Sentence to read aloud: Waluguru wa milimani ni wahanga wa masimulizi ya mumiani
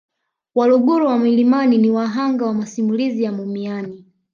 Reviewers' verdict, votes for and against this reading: accepted, 2, 0